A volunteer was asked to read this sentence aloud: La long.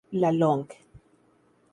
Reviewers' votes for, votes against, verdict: 2, 0, accepted